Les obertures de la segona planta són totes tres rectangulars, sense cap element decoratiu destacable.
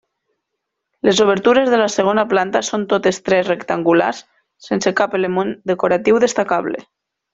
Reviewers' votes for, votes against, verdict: 0, 2, rejected